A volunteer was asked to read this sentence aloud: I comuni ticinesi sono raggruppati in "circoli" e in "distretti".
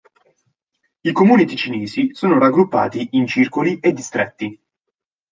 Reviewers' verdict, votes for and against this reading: rejected, 0, 2